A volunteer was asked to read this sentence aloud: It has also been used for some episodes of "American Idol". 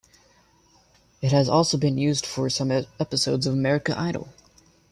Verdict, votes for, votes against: rejected, 0, 2